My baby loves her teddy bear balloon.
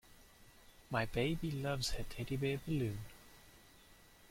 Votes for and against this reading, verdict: 2, 1, accepted